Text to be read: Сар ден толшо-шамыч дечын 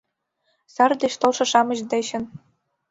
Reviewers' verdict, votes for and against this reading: rejected, 1, 2